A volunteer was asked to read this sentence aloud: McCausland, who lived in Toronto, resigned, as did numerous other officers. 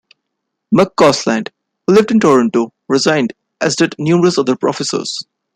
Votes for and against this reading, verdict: 2, 1, accepted